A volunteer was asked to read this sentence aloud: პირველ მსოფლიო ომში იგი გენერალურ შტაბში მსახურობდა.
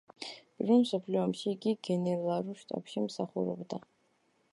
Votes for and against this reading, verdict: 2, 1, accepted